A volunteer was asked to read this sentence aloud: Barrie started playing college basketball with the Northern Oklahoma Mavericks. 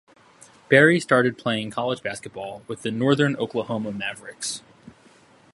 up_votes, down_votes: 2, 0